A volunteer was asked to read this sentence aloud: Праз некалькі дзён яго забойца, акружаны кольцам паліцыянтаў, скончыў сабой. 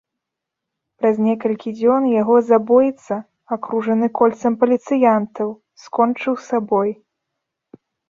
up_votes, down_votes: 3, 0